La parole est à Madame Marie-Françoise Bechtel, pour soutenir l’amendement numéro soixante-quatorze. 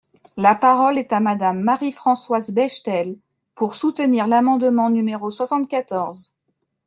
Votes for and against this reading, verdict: 2, 0, accepted